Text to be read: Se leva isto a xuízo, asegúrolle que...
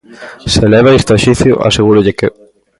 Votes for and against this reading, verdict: 0, 2, rejected